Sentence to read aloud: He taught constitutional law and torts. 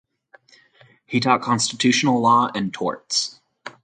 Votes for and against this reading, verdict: 4, 0, accepted